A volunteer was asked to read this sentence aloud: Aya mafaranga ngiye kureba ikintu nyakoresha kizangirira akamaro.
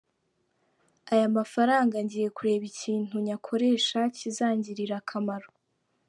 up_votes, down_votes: 2, 1